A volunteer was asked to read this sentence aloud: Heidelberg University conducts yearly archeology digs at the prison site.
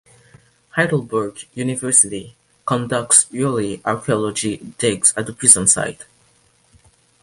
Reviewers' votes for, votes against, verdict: 2, 1, accepted